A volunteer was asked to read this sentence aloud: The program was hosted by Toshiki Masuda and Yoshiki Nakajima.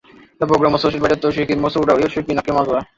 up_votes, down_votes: 0, 2